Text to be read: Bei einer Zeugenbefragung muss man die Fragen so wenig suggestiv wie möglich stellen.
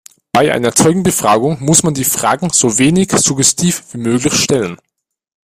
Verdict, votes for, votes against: rejected, 1, 2